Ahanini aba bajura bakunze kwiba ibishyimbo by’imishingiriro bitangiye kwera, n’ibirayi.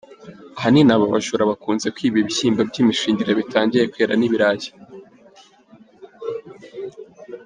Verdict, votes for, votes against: accepted, 2, 0